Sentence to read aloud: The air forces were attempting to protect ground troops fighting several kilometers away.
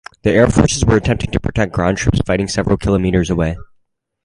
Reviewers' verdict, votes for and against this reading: rejected, 2, 2